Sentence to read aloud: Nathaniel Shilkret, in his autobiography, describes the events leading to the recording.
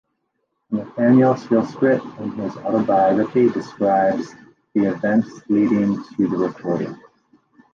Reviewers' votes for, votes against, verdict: 0, 2, rejected